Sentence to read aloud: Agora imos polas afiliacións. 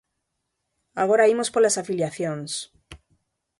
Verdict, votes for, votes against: accepted, 2, 0